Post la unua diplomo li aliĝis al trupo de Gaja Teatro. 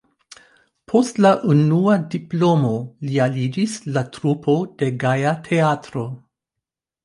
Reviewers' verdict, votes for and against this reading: accepted, 2, 1